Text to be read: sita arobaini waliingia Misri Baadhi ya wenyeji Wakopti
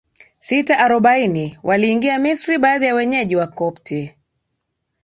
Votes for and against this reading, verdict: 2, 0, accepted